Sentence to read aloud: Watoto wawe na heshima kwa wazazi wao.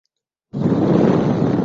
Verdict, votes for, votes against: rejected, 0, 2